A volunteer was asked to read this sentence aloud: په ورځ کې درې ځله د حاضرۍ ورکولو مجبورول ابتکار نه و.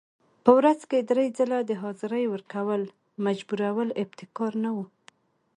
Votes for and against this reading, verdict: 2, 1, accepted